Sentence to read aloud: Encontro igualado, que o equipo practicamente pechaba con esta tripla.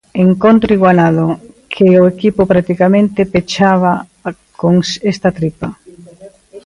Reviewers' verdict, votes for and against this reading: rejected, 0, 2